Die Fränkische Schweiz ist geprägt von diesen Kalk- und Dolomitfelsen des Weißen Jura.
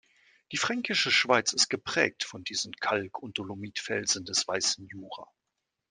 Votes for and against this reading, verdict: 2, 0, accepted